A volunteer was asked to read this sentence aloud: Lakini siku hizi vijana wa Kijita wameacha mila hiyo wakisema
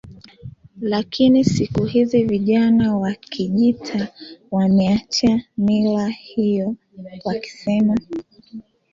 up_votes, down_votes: 2, 0